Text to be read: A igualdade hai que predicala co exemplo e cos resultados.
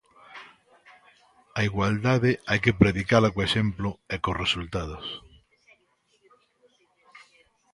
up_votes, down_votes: 2, 0